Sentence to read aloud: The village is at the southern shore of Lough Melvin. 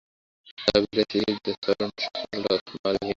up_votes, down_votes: 0, 2